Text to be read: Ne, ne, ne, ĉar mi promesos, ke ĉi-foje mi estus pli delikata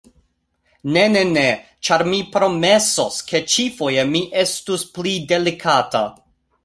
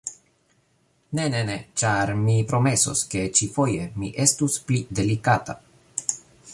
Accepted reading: second